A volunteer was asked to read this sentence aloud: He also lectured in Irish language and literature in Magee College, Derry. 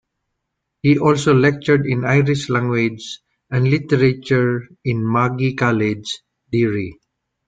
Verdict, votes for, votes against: accepted, 2, 0